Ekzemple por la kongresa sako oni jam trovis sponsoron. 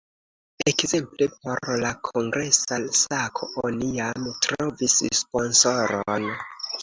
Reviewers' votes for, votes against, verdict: 2, 0, accepted